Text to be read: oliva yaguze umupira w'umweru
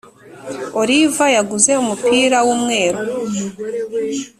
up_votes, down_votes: 3, 0